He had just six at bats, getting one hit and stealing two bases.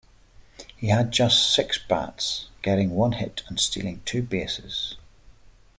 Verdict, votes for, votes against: rejected, 1, 2